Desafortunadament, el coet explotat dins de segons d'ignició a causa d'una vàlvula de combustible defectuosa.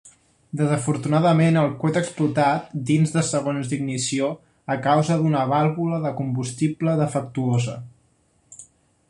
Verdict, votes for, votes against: accepted, 2, 0